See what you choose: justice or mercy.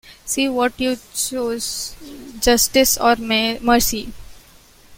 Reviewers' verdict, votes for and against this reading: rejected, 1, 2